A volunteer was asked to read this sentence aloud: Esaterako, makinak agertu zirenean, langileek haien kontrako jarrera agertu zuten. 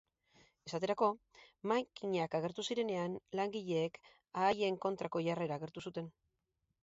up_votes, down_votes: 2, 2